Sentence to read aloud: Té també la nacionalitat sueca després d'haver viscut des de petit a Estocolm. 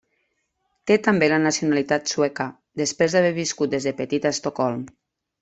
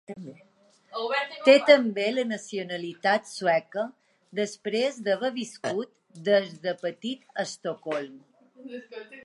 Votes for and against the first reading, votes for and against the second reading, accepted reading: 3, 0, 0, 2, first